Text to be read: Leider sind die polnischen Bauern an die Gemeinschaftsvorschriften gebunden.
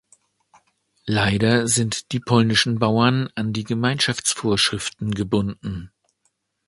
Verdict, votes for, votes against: accepted, 2, 0